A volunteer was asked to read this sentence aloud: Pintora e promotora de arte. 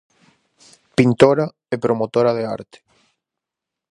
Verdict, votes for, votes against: accepted, 4, 0